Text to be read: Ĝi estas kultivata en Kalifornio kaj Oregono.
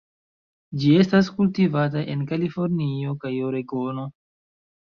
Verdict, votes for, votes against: rejected, 1, 2